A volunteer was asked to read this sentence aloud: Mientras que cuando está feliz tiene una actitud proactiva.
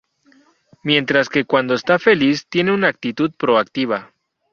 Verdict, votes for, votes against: rejected, 0, 2